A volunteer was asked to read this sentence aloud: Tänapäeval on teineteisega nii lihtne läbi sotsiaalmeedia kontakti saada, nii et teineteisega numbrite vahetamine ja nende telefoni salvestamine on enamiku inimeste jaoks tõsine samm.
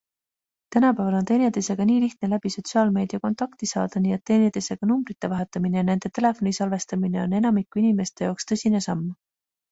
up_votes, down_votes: 2, 0